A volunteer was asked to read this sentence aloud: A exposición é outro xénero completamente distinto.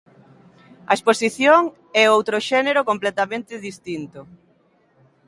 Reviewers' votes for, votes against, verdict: 2, 0, accepted